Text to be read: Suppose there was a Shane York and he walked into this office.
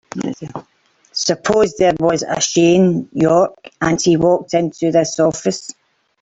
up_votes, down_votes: 0, 3